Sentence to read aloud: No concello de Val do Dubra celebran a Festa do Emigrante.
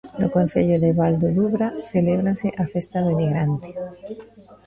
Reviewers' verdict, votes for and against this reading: rejected, 0, 2